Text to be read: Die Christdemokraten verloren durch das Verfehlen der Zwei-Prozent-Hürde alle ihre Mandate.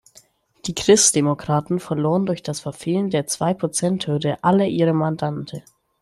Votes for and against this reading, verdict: 0, 2, rejected